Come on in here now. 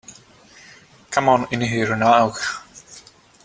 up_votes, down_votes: 2, 1